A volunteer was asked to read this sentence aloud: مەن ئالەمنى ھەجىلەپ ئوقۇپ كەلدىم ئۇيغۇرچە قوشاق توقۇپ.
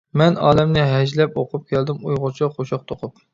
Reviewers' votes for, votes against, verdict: 2, 0, accepted